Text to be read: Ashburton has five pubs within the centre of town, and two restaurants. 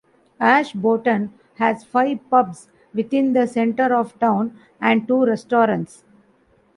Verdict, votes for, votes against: rejected, 1, 2